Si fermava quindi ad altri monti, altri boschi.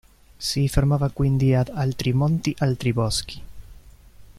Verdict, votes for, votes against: rejected, 1, 2